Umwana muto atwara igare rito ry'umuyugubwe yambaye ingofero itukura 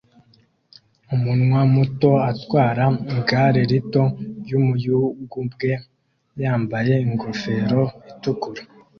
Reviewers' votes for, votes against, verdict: 0, 2, rejected